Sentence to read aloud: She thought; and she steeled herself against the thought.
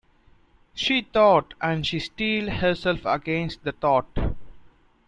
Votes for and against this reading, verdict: 2, 0, accepted